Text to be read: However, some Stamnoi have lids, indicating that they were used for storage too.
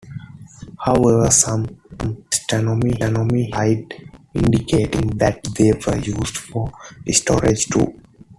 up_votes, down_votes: 0, 2